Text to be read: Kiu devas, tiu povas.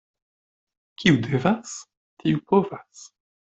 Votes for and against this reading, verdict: 1, 2, rejected